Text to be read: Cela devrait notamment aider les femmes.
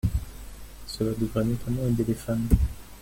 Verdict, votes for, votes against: accepted, 2, 1